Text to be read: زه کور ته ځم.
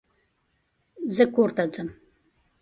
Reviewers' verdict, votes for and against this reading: accepted, 2, 0